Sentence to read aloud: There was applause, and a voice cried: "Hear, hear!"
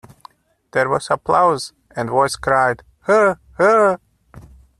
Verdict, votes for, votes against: rejected, 0, 2